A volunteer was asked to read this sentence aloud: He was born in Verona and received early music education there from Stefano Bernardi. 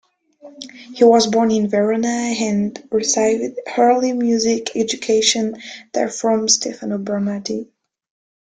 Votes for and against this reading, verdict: 2, 0, accepted